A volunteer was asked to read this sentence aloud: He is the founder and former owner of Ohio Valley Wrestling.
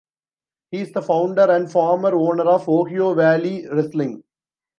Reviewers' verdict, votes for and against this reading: rejected, 1, 2